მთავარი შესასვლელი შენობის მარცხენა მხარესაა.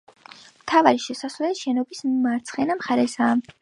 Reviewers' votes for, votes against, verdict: 3, 0, accepted